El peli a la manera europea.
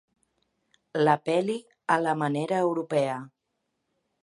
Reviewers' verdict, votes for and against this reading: accepted, 2, 1